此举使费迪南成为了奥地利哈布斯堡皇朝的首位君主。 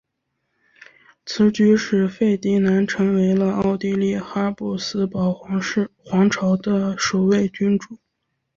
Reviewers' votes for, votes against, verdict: 0, 2, rejected